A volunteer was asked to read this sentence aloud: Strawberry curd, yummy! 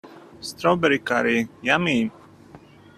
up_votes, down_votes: 1, 2